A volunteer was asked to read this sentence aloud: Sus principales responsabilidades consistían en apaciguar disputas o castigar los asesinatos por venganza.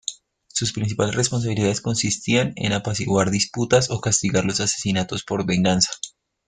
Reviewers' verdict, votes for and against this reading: accepted, 2, 0